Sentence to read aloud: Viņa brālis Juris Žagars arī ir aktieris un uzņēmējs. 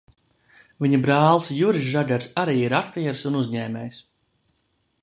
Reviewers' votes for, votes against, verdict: 2, 0, accepted